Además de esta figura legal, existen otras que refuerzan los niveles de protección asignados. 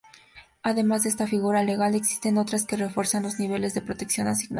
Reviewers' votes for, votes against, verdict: 4, 0, accepted